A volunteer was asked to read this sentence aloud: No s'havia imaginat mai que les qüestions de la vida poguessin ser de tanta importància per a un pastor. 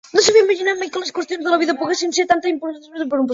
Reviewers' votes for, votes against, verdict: 1, 2, rejected